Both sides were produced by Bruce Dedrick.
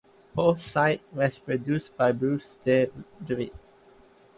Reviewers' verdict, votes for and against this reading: rejected, 1, 2